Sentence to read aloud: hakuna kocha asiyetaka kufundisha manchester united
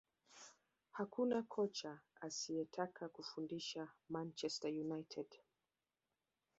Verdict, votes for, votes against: accepted, 2, 0